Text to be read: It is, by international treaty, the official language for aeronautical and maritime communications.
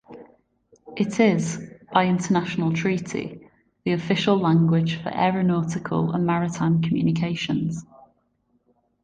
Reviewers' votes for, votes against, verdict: 1, 2, rejected